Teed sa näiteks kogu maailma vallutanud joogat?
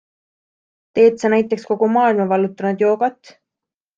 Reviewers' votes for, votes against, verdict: 2, 0, accepted